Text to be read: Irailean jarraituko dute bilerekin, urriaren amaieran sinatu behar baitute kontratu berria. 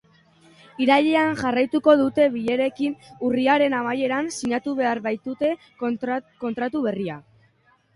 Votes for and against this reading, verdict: 0, 3, rejected